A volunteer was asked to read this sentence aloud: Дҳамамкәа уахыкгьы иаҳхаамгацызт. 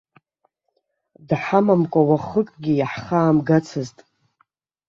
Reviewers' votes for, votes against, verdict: 2, 0, accepted